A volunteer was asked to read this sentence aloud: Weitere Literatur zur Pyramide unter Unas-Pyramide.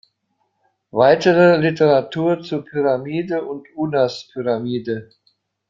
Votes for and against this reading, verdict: 1, 2, rejected